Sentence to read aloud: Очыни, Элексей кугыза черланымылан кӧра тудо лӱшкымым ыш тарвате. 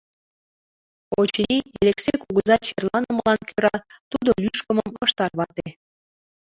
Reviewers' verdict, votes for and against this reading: accepted, 2, 1